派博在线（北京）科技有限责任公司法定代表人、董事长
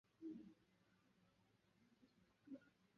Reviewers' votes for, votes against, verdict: 0, 4, rejected